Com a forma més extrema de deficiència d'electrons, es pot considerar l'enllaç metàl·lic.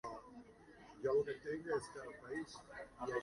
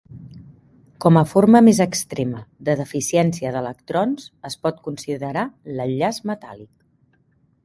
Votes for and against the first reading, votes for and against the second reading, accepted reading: 0, 2, 2, 0, second